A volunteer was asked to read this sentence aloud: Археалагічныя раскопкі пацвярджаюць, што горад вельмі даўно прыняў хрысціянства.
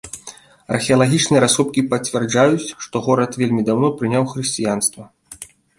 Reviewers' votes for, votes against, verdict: 2, 0, accepted